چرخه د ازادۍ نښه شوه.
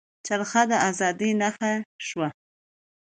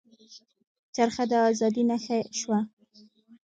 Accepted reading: first